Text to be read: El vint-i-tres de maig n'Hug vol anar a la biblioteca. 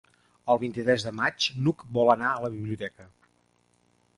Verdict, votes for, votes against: accepted, 3, 0